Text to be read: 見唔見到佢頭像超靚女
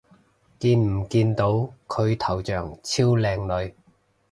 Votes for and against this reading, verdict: 3, 0, accepted